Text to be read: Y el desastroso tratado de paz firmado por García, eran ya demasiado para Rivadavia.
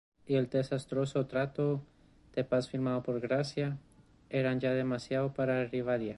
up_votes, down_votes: 0, 2